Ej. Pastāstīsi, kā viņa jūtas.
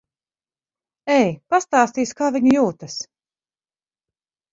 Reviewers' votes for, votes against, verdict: 4, 0, accepted